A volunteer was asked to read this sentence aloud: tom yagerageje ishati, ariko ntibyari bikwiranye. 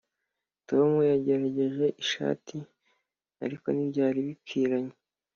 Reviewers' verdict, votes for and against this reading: accepted, 2, 0